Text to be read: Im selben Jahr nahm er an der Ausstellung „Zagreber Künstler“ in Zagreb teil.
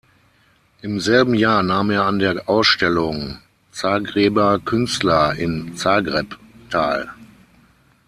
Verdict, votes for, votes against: rejected, 3, 6